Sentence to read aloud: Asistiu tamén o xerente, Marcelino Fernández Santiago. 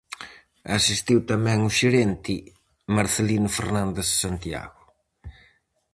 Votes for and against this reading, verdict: 4, 0, accepted